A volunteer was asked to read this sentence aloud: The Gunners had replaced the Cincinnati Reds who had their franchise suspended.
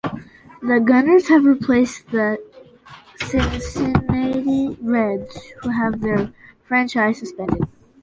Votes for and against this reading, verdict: 1, 2, rejected